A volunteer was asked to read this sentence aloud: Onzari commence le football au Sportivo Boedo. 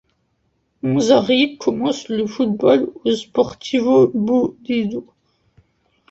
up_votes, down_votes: 0, 2